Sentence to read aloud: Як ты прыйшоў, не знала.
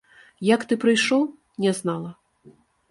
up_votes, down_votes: 2, 0